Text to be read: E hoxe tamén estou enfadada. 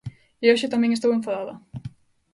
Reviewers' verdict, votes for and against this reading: accepted, 2, 0